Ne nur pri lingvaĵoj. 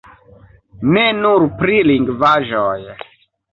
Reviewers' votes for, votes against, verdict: 2, 1, accepted